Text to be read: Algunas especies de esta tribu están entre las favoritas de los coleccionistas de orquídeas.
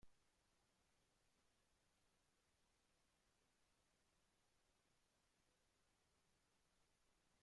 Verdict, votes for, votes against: rejected, 0, 2